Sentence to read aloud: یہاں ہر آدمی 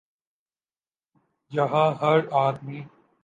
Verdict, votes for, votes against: accepted, 2, 0